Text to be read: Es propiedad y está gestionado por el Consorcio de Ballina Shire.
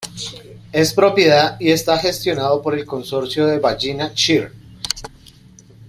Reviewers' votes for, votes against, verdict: 2, 1, accepted